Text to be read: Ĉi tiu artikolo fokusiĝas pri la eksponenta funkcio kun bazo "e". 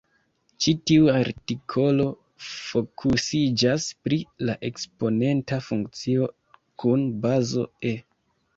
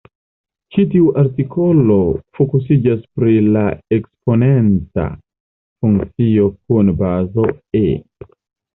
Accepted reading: first